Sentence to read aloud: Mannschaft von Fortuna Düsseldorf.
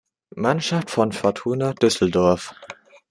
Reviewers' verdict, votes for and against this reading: accepted, 2, 0